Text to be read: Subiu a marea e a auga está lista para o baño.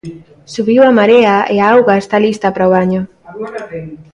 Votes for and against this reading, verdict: 1, 2, rejected